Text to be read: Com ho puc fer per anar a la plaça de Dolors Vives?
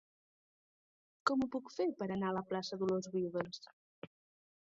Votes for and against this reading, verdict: 2, 1, accepted